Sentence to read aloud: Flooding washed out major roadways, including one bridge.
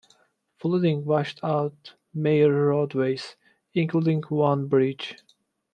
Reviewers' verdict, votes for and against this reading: accepted, 2, 1